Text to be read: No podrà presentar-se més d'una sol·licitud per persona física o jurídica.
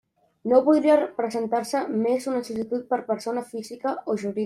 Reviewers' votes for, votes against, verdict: 0, 2, rejected